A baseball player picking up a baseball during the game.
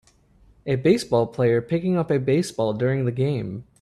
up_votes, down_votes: 3, 0